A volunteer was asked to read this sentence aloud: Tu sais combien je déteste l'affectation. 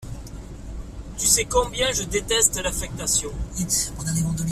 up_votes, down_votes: 0, 2